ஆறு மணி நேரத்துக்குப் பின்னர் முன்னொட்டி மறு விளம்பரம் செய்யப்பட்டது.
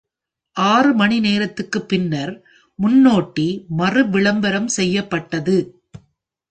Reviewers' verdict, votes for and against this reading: rejected, 1, 2